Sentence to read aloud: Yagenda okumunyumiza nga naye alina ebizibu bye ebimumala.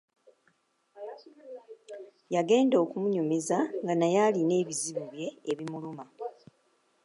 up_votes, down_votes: 0, 2